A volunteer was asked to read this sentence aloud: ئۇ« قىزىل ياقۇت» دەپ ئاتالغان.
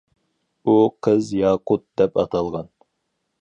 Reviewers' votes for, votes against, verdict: 2, 2, rejected